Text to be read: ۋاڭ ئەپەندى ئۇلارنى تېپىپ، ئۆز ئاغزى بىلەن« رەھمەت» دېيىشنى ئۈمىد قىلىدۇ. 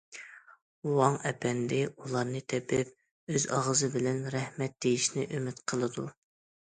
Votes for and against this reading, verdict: 2, 0, accepted